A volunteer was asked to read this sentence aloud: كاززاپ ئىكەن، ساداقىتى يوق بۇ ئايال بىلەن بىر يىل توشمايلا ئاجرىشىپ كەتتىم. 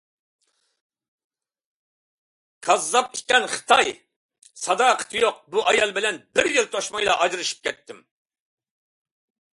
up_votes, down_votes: 0, 2